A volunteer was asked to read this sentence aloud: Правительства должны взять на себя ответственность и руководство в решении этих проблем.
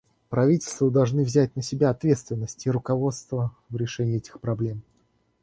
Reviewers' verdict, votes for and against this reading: rejected, 0, 2